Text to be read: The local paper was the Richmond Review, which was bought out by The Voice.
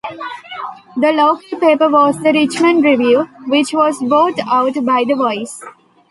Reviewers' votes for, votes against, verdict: 2, 1, accepted